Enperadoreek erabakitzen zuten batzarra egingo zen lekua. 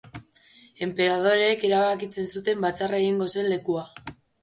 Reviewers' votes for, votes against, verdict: 3, 0, accepted